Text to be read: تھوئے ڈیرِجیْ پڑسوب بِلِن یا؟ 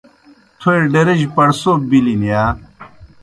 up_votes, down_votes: 2, 0